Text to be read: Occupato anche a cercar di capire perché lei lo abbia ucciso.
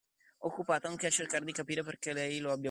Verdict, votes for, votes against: rejected, 0, 2